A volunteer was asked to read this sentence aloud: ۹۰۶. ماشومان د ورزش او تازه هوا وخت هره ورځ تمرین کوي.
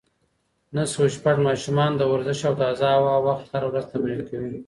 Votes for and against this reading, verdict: 0, 2, rejected